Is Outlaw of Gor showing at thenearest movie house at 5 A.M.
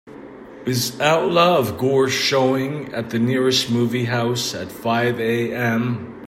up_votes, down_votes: 0, 2